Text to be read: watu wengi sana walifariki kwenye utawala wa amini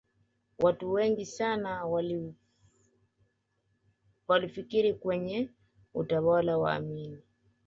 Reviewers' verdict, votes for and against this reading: rejected, 0, 2